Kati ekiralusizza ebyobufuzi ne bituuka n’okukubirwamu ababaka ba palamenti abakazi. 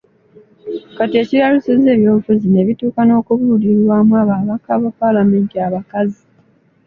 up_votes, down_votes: 2, 1